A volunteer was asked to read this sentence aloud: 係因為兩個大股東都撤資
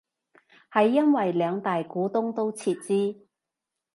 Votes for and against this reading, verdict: 1, 2, rejected